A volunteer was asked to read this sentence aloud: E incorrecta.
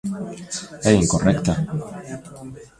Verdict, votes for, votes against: rejected, 1, 2